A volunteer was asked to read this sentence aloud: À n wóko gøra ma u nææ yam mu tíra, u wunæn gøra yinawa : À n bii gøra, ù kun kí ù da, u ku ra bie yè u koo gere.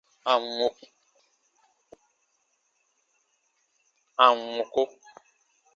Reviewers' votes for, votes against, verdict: 0, 3, rejected